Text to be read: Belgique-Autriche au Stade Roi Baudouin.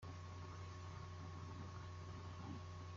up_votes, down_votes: 0, 2